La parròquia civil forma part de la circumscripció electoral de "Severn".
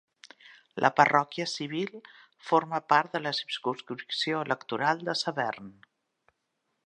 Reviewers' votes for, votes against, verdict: 3, 0, accepted